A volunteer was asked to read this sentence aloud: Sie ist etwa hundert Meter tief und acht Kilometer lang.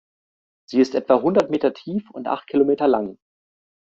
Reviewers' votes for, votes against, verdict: 2, 0, accepted